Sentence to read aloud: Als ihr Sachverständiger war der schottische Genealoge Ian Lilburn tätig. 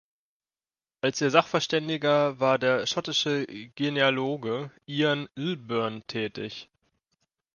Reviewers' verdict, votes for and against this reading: accepted, 2, 0